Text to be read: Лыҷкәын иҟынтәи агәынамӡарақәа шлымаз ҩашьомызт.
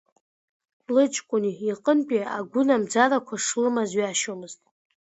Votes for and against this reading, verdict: 2, 0, accepted